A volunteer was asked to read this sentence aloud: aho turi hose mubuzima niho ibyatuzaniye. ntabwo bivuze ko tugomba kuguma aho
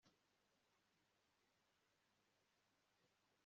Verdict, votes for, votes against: rejected, 1, 2